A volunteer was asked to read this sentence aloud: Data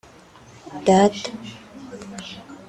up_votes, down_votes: 2, 0